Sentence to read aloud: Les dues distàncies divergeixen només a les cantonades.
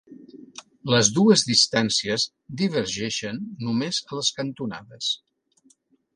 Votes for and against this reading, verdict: 3, 0, accepted